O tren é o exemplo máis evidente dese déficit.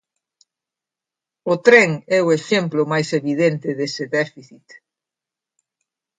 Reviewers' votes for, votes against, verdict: 2, 0, accepted